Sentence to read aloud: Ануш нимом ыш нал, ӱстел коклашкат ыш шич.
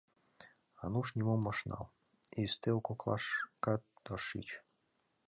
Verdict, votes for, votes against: rejected, 1, 2